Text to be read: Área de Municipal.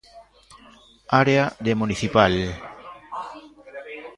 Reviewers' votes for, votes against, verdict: 1, 2, rejected